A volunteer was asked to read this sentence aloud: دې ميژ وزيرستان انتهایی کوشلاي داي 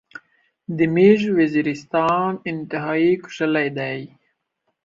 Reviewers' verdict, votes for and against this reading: rejected, 1, 2